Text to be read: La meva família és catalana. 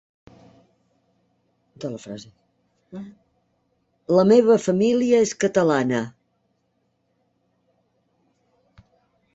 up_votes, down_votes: 0, 2